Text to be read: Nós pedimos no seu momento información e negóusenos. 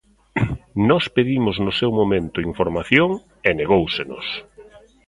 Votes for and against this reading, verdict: 0, 2, rejected